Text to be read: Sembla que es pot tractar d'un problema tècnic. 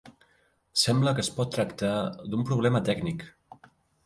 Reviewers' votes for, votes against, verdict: 2, 0, accepted